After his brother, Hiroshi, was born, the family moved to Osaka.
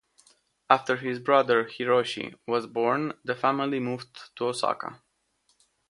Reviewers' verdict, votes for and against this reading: accepted, 2, 0